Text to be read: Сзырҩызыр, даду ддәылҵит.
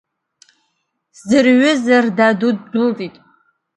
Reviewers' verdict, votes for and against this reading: rejected, 0, 2